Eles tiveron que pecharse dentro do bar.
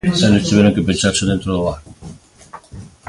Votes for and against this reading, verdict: 2, 1, accepted